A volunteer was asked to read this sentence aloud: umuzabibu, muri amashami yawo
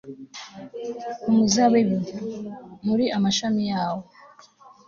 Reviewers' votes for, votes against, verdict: 2, 0, accepted